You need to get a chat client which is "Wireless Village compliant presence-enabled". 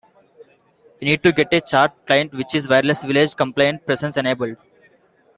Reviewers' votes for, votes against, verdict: 2, 1, accepted